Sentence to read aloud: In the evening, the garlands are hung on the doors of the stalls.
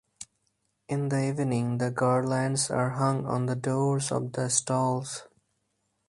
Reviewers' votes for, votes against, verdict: 4, 0, accepted